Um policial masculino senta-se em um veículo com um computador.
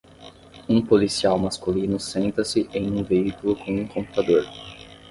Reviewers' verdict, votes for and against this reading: accepted, 10, 0